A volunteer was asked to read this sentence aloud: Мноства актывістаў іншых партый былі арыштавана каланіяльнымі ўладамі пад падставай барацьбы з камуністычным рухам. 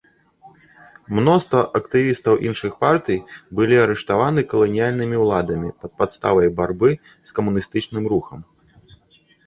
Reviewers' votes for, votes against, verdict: 0, 3, rejected